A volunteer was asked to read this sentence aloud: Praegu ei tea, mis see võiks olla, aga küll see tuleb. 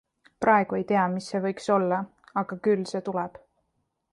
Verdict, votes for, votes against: accepted, 2, 0